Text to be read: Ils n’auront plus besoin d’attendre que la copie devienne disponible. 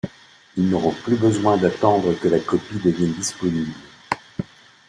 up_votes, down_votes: 2, 0